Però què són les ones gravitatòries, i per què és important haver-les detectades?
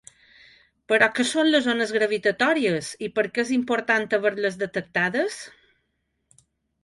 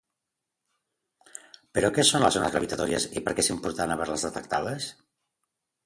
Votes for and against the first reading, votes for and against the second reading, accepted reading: 2, 0, 2, 2, first